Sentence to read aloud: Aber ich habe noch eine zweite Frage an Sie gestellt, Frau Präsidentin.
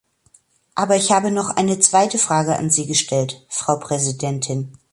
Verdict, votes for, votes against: accepted, 2, 0